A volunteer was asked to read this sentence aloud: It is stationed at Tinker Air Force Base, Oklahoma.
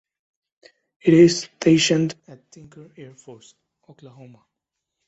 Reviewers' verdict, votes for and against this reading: rejected, 1, 2